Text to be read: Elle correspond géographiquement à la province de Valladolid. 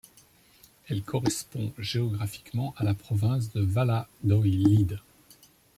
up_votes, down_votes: 1, 2